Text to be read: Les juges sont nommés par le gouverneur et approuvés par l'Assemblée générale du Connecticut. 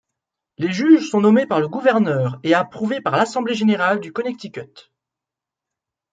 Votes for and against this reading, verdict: 2, 1, accepted